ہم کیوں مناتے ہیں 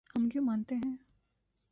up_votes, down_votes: 1, 2